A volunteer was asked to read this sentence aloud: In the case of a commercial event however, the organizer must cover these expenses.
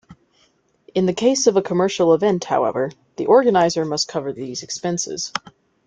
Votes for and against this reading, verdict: 2, 0, accepted